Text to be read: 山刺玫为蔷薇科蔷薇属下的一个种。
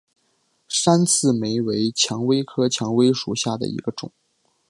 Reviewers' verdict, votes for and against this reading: accepted, 2, 0